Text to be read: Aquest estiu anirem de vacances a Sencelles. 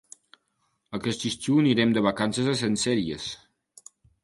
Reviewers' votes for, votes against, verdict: 2, 1, accepted